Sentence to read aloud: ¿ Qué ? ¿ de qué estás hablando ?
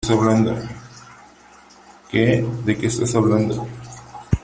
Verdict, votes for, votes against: rejected, 1, 2